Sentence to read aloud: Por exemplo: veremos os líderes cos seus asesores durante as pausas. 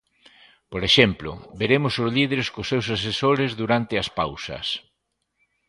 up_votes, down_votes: 2, 0